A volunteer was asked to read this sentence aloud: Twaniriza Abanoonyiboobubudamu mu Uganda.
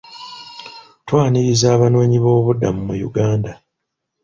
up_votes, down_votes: 2, 0